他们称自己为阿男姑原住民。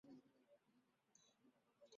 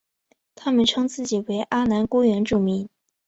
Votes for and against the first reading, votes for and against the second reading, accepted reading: 0, 2, 2, 1, second